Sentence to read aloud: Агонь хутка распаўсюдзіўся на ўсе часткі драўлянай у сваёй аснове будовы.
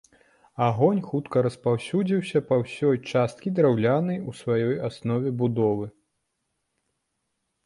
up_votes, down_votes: 0, 2